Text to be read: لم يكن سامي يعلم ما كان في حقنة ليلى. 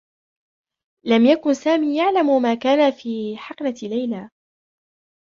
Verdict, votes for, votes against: rejected, 1, 2